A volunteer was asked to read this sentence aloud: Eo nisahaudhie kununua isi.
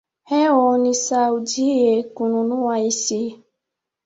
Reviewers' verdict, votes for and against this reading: rejected, 0, 2